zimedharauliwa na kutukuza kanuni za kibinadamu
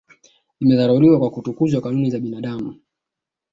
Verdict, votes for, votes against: accepted, 9, 0